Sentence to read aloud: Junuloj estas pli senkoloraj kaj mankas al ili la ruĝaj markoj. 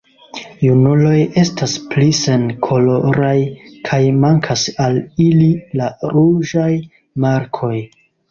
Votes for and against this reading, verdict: 2, 0, accepted